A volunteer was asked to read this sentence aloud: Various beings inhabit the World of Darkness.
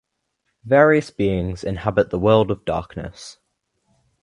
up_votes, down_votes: 2, 0